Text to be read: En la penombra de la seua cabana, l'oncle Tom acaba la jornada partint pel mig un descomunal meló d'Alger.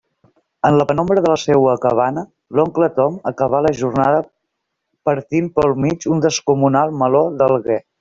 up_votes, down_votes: 1, 2